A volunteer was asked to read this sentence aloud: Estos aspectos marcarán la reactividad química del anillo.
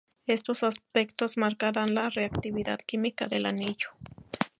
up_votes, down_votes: 0, 2